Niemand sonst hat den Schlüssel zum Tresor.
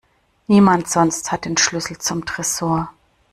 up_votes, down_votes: 2, 0